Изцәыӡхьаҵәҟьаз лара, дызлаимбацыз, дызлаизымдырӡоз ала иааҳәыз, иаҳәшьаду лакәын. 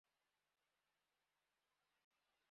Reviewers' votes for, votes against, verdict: 1, 2, rejected